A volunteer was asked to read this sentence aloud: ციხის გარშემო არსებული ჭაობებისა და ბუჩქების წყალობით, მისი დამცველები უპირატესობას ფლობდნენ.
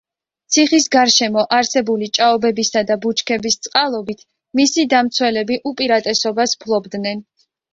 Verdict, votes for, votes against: accepted, 2, 0